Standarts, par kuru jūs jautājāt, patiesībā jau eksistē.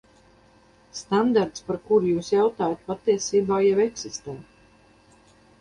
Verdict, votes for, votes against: rejected, 2, 2